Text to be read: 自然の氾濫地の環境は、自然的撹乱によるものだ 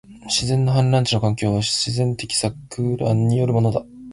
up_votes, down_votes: 2, 2